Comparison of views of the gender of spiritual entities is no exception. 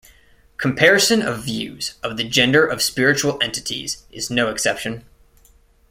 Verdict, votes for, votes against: accepted, 2, 0